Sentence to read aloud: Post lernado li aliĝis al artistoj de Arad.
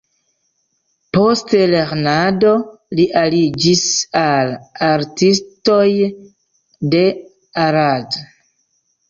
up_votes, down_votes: 1, 2